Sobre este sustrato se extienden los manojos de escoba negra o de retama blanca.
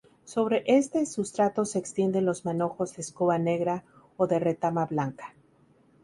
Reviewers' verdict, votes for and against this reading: accepted, 2, 0